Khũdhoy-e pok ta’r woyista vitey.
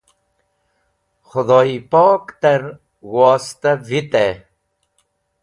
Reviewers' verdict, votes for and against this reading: accepted, 2, 0